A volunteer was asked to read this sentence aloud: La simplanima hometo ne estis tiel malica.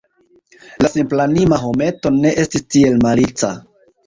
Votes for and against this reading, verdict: 2, 1, accepted